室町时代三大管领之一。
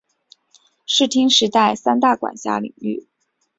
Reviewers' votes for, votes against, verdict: 2, 0, accepted